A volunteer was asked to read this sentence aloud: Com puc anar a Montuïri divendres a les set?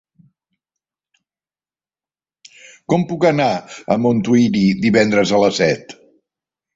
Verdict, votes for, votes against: accepted, 2, 0